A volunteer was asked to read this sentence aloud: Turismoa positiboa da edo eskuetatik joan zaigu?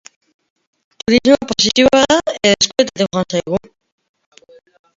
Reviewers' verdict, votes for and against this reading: rejected, 0, 2